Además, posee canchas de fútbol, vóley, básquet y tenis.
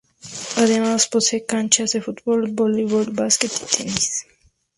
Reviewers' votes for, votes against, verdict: 0, 4, rejected